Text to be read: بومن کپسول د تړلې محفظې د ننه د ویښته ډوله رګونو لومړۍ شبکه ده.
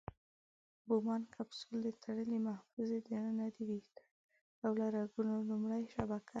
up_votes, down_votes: 0, 2